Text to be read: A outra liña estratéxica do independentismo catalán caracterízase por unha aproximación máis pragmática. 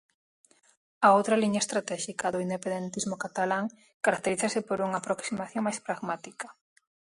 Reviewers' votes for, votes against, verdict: 4, 0, accepted